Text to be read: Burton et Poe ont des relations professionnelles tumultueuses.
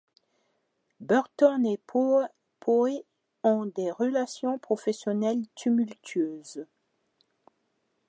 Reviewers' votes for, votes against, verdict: 1, 2, rejected